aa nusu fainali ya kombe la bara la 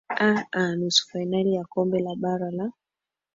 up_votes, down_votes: 2, 1